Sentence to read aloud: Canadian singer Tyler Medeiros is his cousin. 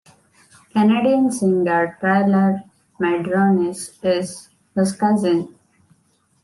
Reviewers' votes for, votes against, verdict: 0, 2, rejected